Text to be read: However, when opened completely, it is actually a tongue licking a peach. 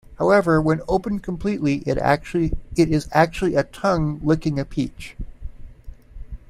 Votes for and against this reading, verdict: 0, 2, rejected